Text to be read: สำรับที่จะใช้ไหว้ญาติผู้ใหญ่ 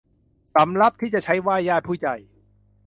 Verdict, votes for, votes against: accepted, 2, 0